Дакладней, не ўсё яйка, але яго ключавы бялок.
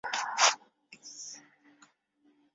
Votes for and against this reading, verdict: 0, 2, rejected